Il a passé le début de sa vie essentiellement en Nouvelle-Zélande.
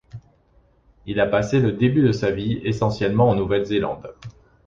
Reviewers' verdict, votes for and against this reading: accepted, 2, 0